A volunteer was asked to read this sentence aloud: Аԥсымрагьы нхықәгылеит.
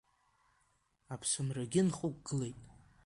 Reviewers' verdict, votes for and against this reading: accepted, 2, 0